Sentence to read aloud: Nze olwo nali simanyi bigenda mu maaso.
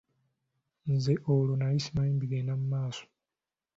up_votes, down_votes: 2, 0